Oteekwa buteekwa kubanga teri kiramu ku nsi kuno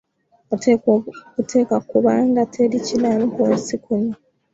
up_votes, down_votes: 0, 2